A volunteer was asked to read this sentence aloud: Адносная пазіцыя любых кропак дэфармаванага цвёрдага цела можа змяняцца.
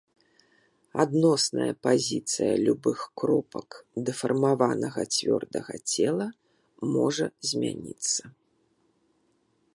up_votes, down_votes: 1, 2